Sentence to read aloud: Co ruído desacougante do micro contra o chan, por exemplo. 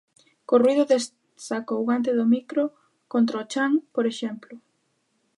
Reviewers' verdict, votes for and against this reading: rejected, 0, 3